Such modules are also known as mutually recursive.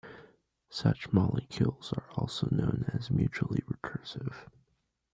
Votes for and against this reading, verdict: 0, 2, rejected